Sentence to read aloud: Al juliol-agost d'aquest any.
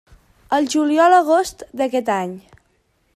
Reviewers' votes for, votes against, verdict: 2, 0, accepted